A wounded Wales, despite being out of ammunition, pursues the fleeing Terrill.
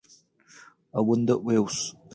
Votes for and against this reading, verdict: 0, 2, rejected